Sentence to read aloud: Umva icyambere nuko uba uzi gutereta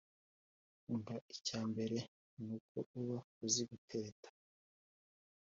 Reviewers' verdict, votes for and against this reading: accepted, 2, 0